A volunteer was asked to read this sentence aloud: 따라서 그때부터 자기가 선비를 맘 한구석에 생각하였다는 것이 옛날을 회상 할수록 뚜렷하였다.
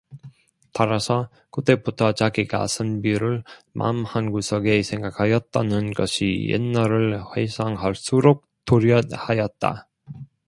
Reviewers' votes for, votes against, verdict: 1, 2, rejected